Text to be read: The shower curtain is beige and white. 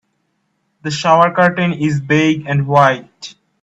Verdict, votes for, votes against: rejected, 1, 2